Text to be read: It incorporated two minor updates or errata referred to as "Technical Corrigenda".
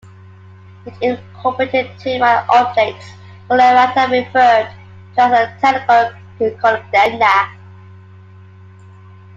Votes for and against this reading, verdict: 0, 2, rejected